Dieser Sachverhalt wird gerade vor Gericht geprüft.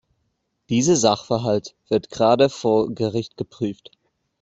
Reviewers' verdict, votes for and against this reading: accepted, 2, 1